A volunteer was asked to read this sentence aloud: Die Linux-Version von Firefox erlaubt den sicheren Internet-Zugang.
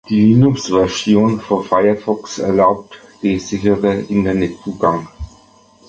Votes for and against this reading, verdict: 2, 1, accepted